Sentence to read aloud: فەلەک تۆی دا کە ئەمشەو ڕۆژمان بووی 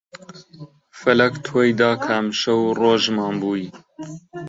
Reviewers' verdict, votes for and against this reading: rejected, 0, 2